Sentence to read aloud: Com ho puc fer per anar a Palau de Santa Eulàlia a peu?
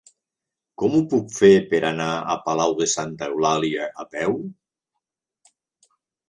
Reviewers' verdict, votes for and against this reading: accepted, 3, 0